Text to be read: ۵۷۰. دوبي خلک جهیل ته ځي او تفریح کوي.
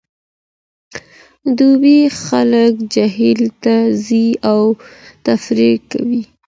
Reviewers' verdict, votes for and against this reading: rejected, 0, 2